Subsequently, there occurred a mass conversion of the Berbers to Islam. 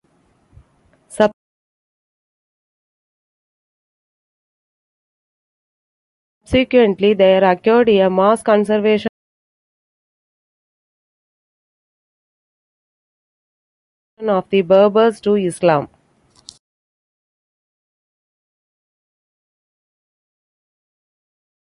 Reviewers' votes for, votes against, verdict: 0, 2, rejected